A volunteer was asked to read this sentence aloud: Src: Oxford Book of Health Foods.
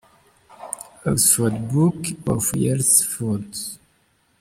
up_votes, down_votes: 2, 3